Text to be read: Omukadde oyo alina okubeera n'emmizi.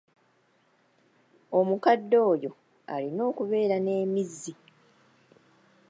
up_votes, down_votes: 0, 2